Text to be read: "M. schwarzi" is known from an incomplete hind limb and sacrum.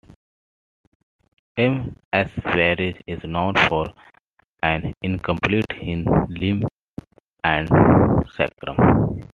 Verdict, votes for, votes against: rejected, 0, 2